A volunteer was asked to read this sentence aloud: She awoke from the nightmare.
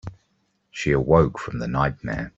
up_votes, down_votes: 3, 0